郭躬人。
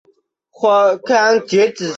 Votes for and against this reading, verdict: 0, 2, rejected